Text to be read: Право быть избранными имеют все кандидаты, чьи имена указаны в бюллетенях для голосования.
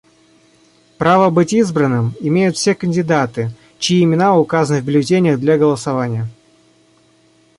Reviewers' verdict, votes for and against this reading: rejected, 1, 2